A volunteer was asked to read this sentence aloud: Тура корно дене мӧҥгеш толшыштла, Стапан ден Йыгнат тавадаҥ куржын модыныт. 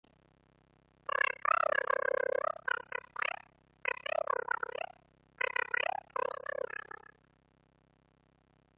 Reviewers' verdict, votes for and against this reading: rejected, 0, 2